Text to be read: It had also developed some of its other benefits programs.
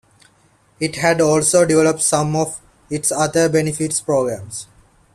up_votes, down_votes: 2, 0